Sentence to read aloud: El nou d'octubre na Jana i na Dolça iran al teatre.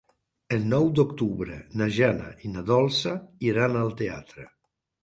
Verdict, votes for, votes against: accepted, 4, 1